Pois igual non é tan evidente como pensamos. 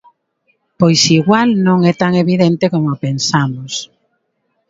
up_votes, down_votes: 2, 1